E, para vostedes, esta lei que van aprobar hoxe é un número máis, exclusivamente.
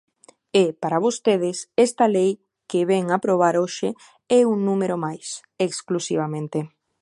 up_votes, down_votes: 0, 2